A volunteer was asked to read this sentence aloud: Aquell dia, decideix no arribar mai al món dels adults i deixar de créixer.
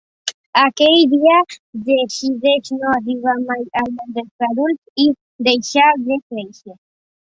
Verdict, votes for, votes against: accepted, 2, 0